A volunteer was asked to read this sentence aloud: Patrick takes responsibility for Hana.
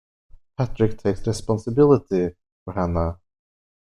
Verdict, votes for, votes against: accepted, 2, 0